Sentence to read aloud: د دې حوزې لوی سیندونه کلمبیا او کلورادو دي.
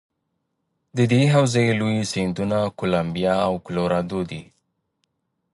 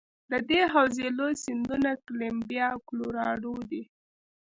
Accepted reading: first